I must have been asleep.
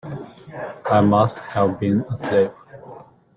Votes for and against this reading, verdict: 0, 2, rejected